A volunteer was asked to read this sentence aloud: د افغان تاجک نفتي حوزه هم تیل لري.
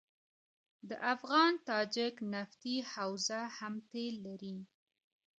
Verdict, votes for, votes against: accepted, 2, 1